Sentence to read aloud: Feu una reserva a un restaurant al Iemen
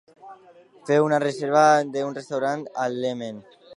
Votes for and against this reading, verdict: 0, 2, rejected